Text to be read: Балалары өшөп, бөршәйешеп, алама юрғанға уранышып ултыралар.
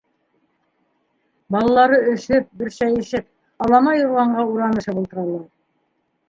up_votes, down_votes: 3, 0